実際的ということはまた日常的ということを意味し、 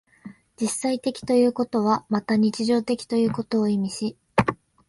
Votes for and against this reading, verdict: 6, 0, accepted